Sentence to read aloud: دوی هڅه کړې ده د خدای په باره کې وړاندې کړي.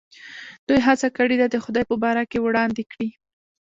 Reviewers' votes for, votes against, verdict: 0, 2, rejected